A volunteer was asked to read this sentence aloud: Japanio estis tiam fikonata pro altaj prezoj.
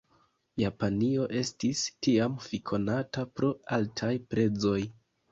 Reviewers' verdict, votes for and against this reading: rejected, 0, 2